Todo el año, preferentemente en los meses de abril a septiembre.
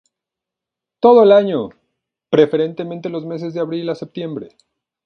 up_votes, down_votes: 2, 0